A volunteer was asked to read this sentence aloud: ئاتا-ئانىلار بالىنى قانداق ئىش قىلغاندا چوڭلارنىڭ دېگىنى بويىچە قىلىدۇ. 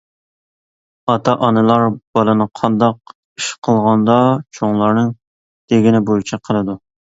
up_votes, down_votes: 2, 0